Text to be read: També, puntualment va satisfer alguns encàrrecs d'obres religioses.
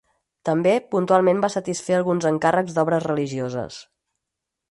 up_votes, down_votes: 4, 0